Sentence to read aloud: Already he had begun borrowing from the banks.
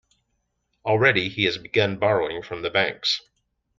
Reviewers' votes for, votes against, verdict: 0, 2, rejected